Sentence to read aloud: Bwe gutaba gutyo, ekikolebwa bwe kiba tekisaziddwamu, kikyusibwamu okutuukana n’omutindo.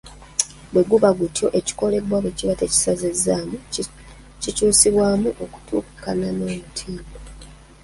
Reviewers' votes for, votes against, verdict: 1, 2, rejected